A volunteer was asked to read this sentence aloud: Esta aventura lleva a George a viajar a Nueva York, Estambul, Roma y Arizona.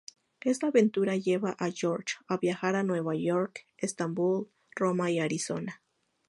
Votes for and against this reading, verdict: 4, 0, accepted